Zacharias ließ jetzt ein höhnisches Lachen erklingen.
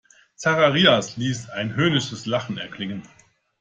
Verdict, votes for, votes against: rejected, 0, 2